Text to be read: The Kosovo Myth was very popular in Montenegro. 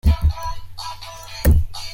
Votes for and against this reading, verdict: 0, 2, rejected